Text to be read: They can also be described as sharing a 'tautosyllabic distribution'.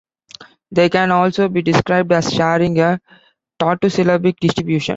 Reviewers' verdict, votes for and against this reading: rejected, 1, 2